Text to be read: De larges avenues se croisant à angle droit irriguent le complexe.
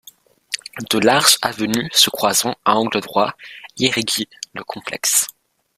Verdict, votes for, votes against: rejected, 1, 2